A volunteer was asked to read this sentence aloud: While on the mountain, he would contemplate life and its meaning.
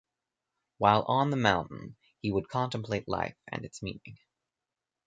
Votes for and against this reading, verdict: 0, 2, rejected